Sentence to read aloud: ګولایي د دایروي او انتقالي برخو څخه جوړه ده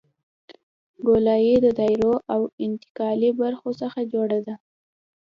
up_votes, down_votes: 2, 0